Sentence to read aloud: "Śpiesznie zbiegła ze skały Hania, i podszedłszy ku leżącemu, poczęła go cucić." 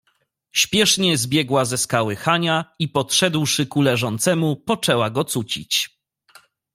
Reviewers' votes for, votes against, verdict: 2, 0, accepted